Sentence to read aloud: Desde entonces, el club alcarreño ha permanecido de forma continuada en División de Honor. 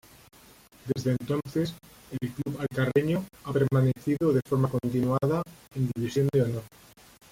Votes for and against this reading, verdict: 0, 2, rejected